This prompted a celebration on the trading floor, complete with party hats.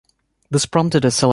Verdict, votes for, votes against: rejected, 0, 2